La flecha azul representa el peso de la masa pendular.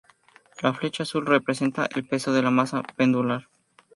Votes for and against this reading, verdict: 2, 0, accepted